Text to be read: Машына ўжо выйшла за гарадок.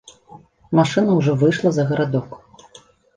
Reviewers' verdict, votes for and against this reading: rejected, 1, 2